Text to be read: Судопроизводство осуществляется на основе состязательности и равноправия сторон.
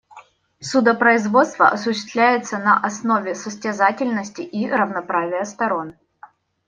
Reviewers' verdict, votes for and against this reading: accepted, 2, 0